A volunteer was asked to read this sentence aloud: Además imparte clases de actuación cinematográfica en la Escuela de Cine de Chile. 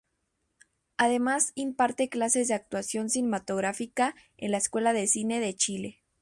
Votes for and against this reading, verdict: 2, 0, accepted